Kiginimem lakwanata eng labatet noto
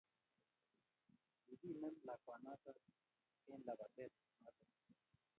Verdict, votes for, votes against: rejected, 0, 2